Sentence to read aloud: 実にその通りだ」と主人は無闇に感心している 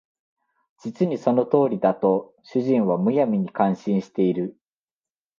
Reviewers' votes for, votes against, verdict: 2, 0, accepted